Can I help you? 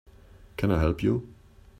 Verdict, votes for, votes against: accepted, 2, 0